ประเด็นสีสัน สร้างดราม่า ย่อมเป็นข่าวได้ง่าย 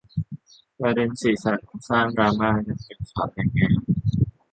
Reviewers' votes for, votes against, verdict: 0, 2, rejected